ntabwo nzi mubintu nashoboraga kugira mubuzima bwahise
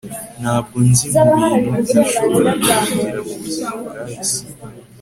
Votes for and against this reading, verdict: 2, 0, accepted